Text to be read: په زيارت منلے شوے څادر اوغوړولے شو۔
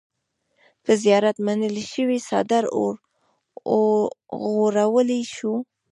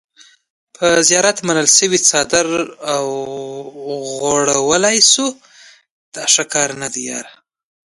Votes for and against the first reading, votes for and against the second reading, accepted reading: 1, 2, 2, 0, second